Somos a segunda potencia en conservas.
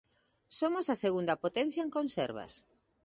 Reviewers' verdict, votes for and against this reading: accepted, 2, 0